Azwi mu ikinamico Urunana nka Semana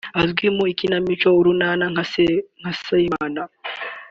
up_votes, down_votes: 1, 3